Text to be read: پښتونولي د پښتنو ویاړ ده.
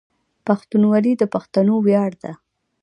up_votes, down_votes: 1, 2